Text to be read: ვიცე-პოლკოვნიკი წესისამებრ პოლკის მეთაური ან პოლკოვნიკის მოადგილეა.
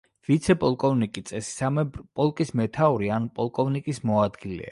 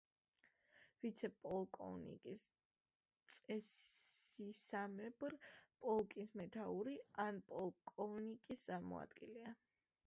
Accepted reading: first